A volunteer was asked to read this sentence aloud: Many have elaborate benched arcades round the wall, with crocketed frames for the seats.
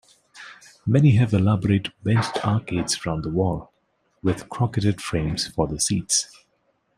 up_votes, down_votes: 0, 2